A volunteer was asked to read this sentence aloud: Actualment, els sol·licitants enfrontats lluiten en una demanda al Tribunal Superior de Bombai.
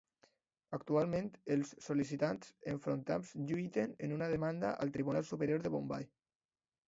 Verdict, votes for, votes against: accepted, 2, 0